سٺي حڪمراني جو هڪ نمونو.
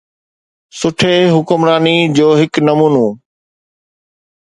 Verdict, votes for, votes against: accepted, 2, 0